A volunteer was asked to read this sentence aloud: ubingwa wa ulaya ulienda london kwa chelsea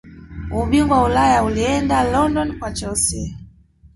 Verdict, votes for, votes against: rejected, 1, 2